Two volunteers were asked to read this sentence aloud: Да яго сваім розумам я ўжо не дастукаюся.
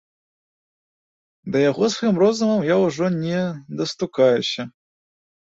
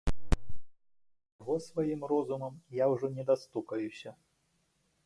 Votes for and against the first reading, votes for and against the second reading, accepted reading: 1, 2, 2, 0, second